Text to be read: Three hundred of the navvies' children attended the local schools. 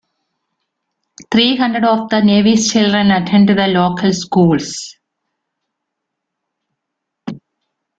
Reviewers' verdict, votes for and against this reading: rejected, 0, 2